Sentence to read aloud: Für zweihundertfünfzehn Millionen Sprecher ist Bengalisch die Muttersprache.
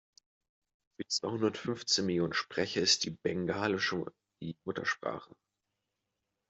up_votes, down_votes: 0, 2